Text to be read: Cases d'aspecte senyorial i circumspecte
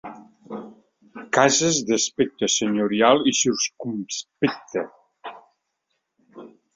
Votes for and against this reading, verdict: 1, 2, rejected